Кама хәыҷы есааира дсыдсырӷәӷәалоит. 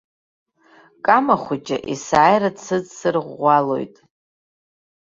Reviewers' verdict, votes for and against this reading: accepted, 2, 0